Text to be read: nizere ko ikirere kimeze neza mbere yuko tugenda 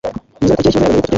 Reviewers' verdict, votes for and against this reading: rejected, 1, 2